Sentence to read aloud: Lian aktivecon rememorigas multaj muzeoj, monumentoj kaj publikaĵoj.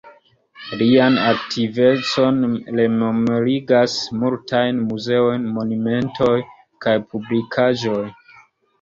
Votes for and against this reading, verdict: 2, 0, accepted